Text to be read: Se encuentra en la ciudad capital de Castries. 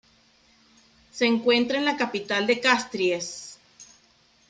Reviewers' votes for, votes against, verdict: 2, 3, rejected